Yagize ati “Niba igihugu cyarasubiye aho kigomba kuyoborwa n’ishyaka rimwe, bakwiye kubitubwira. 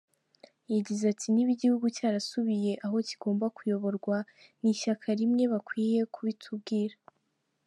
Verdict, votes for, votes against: accepted, 2, 0